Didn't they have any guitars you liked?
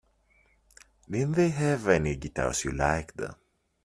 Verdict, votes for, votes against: accepted, 2, 0